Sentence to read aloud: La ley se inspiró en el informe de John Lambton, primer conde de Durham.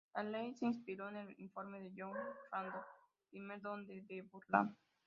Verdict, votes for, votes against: rejected, 1, 2